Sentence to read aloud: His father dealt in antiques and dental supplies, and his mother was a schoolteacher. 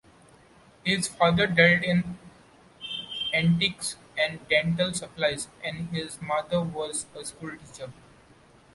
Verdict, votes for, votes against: accepted, 2, 0